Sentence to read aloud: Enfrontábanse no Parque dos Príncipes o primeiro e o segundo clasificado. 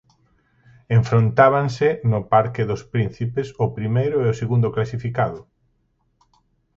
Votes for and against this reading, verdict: 4, 0, accepted